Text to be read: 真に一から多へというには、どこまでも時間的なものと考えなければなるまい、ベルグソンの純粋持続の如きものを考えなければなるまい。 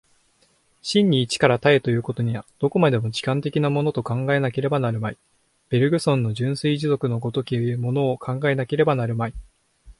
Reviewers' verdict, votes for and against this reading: accepted, 2, 0